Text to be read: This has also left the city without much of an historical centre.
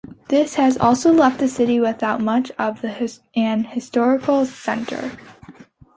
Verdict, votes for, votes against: rejected, 0, 2